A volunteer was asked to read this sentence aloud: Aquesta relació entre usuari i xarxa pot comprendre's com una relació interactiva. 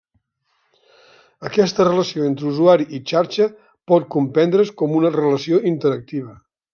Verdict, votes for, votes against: accepted, 3, 0